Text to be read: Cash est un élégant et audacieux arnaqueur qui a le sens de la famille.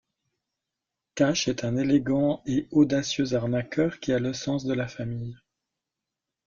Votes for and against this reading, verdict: 2, 0, accepted